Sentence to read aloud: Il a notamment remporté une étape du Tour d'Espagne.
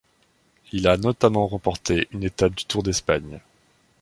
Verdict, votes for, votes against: accepted, 2, 0